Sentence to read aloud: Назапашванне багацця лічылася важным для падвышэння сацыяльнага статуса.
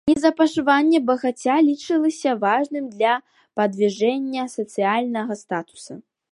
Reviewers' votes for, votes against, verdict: 1, 2, rejected